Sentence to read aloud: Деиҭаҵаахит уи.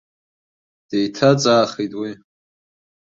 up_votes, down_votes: 4, 1